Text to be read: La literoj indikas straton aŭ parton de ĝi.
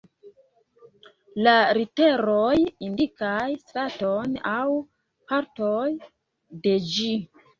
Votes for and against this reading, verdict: 0, 2, rejected